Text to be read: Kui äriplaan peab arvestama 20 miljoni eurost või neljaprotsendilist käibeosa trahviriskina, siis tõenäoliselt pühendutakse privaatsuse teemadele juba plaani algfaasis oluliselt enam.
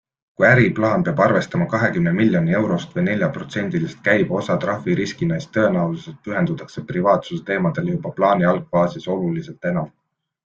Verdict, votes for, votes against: rejected, 0, 2